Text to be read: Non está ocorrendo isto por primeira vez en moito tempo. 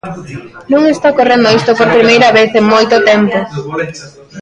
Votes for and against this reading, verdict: 2, 1, accepted